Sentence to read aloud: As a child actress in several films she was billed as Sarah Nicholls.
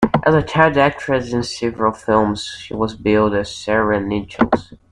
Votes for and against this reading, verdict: 2, 1, accepted